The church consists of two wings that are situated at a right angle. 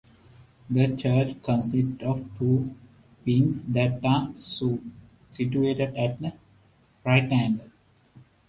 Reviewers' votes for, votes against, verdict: 0, 2, rejected